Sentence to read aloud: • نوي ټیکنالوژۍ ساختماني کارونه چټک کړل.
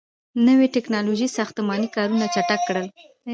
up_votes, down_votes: 2, 0